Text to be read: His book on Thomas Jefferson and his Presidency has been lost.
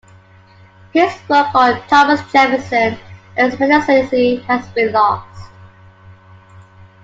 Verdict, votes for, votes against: rejected, 1, 2